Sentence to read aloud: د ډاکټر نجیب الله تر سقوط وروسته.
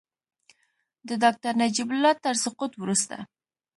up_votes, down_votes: 2, 0